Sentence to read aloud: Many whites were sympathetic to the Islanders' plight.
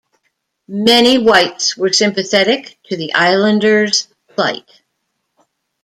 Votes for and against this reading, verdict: 1, 2, rejected